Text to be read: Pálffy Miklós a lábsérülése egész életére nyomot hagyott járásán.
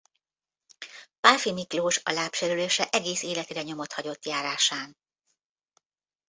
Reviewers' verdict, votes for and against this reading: rejected, 1, 2